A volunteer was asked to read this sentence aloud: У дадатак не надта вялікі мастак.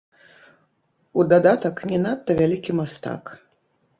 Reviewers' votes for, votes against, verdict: 1, 2, rejected